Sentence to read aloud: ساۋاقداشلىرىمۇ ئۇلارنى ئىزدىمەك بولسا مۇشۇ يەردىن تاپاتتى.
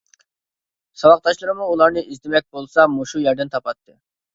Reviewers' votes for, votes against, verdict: 2, 0, accepted